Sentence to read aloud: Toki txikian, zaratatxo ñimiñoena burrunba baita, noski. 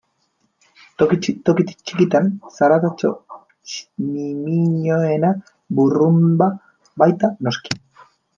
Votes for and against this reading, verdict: 0, 2, rejected